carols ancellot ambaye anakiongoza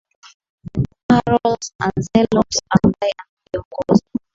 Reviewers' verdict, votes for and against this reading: accepted, 14, 6